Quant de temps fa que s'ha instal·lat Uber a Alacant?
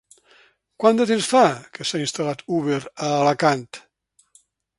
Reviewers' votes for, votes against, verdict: 2, 0, accepted